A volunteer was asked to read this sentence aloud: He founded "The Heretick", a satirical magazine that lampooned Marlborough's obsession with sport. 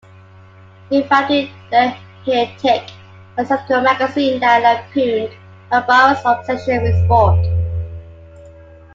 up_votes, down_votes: 1, 2